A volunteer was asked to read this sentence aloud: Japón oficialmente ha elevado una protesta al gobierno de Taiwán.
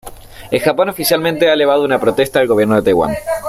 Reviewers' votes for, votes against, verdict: 0, 2, rejected